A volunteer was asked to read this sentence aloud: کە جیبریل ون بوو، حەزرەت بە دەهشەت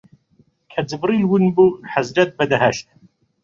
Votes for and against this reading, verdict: 0, 2, rejected